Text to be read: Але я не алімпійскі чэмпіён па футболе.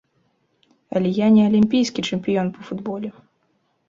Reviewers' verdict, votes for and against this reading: accepted, 2, 0